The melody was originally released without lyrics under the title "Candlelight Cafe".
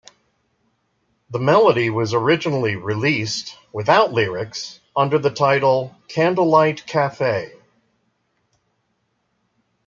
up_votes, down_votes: 2, 0